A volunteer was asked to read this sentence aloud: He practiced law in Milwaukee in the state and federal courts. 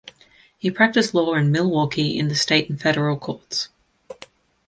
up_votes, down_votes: 0, 2